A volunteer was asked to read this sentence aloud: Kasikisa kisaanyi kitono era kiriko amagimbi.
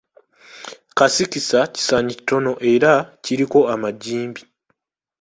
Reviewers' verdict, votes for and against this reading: accepted, 2, 0